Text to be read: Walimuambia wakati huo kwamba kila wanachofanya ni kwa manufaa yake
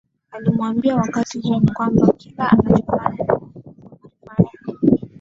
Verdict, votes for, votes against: rejected, 1, 2